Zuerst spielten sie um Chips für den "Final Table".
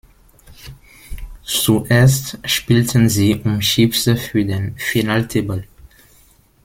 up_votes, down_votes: 0, 2